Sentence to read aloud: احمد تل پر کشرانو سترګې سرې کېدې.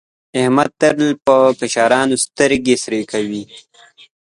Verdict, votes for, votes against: rejected, 0, 2